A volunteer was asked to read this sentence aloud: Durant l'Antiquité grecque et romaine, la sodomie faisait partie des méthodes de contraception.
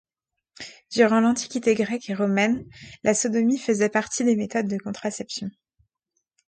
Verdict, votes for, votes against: accepted, 2, 0